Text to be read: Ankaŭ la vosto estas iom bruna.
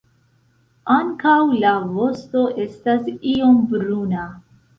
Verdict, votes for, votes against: accepted, 2, 0